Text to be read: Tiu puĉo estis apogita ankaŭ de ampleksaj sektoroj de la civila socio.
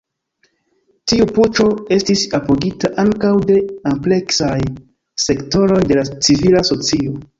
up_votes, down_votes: 2, 1